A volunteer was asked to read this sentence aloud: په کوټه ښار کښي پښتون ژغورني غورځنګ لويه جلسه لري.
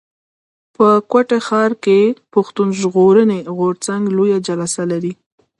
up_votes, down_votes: 0, 2